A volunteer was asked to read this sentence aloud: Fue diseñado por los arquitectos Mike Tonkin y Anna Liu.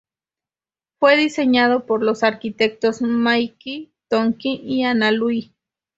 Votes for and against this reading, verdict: 2, 0, accepted